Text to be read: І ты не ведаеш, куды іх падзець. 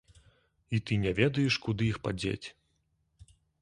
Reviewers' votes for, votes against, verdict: 3, 1, accepted